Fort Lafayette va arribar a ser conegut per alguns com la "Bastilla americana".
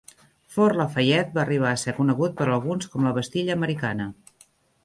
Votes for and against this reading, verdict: 0, 3, rejected